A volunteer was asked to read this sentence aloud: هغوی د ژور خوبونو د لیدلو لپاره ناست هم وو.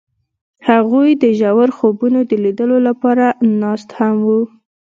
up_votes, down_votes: 2, 0